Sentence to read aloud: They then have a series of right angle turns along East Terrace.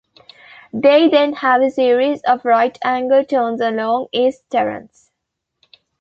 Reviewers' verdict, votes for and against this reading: rejected, 1, 2